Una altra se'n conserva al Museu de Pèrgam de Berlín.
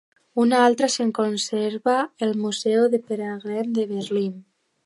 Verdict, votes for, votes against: rejected, 0, 3